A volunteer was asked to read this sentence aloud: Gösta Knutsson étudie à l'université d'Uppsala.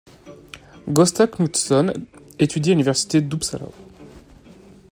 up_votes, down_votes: 2, 0